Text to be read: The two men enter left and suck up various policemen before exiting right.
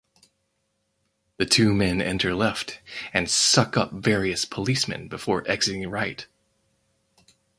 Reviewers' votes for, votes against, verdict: 4, 0, accepted